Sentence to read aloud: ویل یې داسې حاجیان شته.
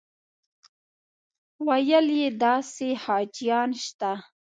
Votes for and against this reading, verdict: 2, 0, accepted